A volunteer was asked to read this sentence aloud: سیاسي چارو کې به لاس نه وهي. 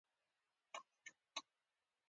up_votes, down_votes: 2, 0